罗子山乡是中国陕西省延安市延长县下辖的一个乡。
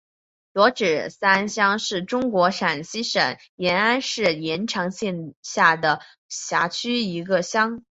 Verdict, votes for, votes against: rejected, 0, 2